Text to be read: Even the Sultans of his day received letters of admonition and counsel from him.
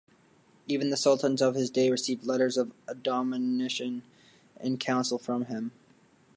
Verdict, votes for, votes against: rejected, 0, 2